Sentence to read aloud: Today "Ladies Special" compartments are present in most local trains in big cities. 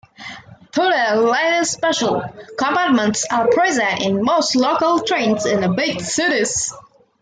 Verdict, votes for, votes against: rejected, 1, 2